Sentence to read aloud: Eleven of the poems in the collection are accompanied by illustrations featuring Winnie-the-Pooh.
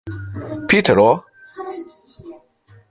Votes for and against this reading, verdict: 1, 2, rejected